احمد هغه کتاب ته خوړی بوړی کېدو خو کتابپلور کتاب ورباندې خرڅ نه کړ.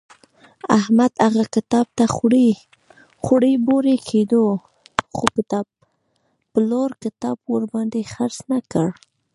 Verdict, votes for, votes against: rejected, 1, 2